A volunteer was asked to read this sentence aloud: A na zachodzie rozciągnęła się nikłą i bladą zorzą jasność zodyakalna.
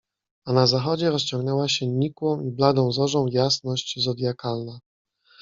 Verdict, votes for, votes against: rejected, 1, 2